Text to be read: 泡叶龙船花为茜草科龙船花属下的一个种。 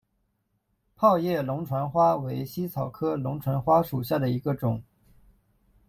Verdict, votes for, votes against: accepted, 2, 0